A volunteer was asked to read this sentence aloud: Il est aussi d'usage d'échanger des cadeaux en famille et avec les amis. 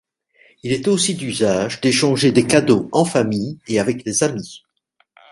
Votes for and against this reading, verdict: 2, 0, accepted